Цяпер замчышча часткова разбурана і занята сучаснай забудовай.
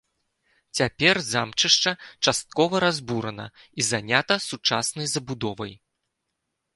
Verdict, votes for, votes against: accepted, 3, 0